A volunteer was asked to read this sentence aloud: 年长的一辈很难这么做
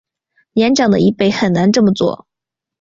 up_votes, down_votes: 2, 0